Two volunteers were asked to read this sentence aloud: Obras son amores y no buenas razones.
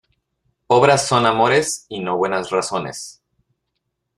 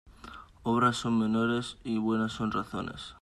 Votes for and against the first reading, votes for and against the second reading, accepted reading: 2, 0, 0, 2, first